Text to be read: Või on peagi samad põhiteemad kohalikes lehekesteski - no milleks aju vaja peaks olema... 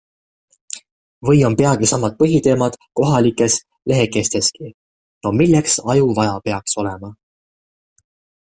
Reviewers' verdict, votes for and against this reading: accepted, 2, 0